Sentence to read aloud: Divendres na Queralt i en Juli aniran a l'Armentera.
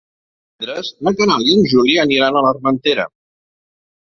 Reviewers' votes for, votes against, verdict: 0, 2, rejected